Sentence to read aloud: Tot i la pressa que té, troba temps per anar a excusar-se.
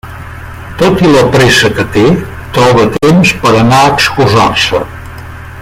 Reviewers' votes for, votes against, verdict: 1, 2, rejected